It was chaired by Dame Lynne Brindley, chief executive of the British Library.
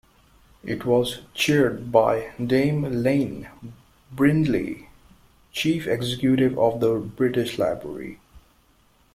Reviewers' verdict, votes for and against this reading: rejected, 0, 2